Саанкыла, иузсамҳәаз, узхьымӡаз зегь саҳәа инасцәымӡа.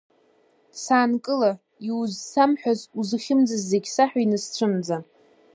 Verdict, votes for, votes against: rejected, 1, 2